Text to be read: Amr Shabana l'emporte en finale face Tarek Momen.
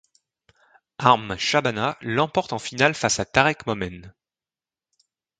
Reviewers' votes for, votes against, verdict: 2, 1, accepted